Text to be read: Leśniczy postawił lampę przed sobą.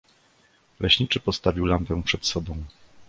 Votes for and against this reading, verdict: 2, 0, accepted